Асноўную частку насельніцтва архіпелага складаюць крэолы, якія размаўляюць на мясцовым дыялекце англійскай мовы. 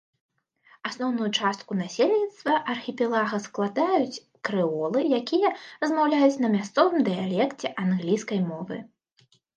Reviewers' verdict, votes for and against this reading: accepted, 2, 0